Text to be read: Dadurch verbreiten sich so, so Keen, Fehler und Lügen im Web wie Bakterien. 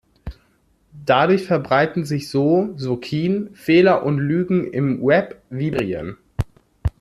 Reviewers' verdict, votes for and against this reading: rejected, 0, 2